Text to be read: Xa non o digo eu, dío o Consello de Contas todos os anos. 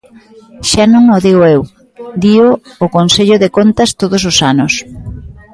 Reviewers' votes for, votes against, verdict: 2, 0, accepted